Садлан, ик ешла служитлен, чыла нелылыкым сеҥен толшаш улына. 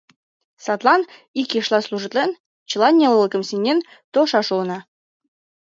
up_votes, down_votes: 3, 0